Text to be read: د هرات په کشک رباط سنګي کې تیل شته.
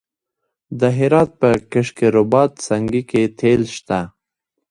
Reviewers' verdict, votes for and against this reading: accepted, 2, 1